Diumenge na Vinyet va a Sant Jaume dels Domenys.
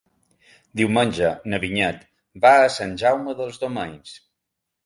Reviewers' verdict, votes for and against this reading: accepted, 2, 1